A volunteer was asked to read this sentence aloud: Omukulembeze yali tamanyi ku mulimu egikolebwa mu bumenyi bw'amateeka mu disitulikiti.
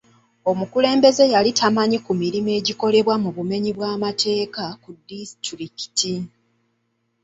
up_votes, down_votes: 1, 2